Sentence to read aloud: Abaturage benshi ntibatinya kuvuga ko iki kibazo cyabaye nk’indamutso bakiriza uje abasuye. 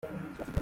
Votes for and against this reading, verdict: 0, 2, rejected